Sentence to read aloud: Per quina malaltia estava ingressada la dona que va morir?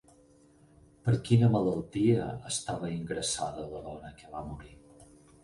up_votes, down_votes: 0, 6